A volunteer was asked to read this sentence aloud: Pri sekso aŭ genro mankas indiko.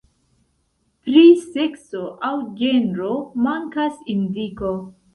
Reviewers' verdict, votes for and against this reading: accepted, 2, 0